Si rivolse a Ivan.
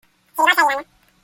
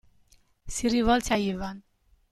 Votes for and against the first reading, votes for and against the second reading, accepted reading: 0, 2, 2, 1, second